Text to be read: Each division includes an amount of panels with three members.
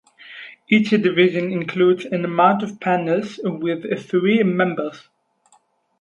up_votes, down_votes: 2, 2